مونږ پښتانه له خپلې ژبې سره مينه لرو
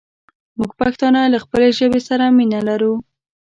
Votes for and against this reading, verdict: 2, 0, accepted